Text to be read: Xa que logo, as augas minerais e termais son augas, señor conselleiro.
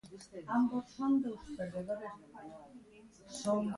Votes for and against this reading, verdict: 0, 2, rejected